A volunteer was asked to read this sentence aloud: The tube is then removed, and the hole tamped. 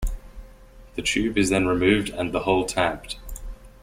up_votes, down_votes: 2, 0